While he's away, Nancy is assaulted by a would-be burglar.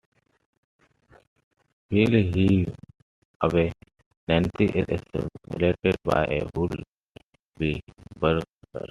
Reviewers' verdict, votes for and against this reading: accepted, 2, 1